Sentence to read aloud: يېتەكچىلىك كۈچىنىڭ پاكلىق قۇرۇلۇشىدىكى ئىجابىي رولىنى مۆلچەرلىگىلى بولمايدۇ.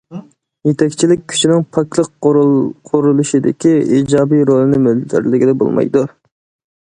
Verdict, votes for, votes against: rejected, 0, 2